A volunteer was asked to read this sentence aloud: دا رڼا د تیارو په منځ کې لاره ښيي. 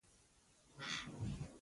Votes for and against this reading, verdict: 1, 2, rejected